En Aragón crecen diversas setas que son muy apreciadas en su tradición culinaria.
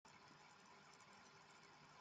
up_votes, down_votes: 1, 2